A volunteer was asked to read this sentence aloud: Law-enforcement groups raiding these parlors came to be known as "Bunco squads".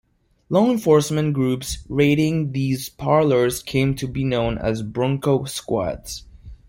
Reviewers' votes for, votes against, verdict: 1, 2, rejected